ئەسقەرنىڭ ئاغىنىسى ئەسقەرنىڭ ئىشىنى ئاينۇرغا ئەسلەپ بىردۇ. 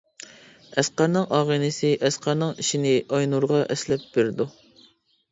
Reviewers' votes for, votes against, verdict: 2, 0, accepted